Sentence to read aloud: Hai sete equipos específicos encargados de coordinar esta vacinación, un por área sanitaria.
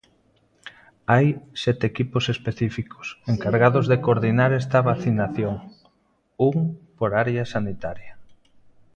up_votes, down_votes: 0, 2